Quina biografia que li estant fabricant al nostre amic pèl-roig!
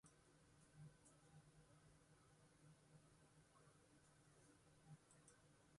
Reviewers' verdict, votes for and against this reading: rejected, 0, 2